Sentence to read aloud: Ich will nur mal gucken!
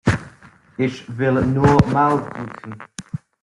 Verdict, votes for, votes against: rejected, 0, 2